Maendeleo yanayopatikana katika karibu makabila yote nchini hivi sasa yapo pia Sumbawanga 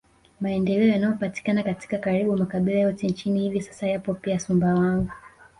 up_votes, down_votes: 0, 2